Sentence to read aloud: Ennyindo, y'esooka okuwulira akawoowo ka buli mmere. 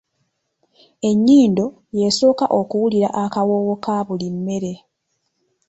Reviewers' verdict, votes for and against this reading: rejected, 1, 2